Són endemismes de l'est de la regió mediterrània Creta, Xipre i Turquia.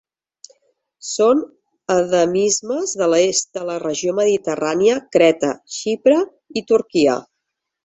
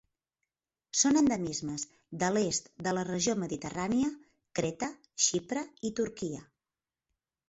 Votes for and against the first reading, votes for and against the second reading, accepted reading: 1, 3, 4, 0, second